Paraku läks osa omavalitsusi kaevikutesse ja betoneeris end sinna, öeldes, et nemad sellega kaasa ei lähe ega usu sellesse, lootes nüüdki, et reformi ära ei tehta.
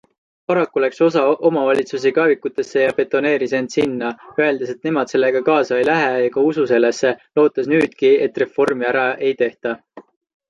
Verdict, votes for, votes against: accepted, 2, 0